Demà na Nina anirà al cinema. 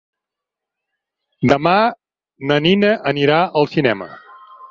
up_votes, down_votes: 6, 0